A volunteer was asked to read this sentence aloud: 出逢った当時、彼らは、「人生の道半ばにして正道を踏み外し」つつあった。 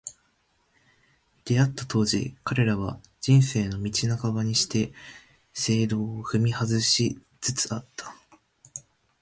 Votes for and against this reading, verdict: 3, 0, accepted